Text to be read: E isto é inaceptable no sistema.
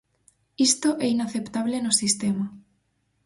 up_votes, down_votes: 0, 4